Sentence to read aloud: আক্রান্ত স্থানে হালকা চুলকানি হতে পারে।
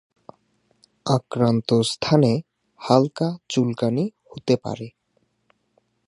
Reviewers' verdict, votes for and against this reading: accepted, 2, 0